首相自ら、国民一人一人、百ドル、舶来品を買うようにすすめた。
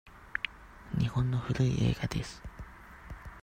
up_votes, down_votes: 0, 2